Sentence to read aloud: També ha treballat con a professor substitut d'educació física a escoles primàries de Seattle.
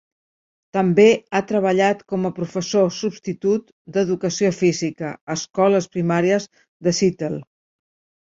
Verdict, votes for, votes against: rejected, 1, 2